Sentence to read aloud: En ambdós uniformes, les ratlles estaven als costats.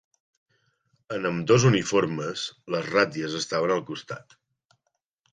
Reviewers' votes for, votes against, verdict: 1, 2, rejected